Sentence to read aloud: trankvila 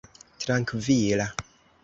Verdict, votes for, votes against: accepted, 2, 0